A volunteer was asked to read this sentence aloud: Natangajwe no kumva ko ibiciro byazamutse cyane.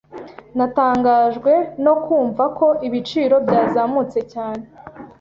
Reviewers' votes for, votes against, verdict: 2, 0, accepted